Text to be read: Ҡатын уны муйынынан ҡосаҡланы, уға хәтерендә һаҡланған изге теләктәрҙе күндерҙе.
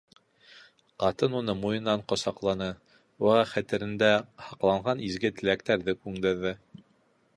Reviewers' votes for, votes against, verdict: 2, 0, accepted